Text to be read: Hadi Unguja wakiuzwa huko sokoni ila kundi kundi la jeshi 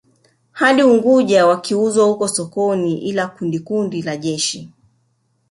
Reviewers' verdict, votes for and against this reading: accepted, 2, 1